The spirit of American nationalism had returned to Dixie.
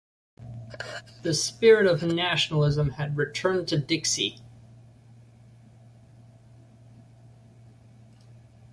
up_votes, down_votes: 0, 2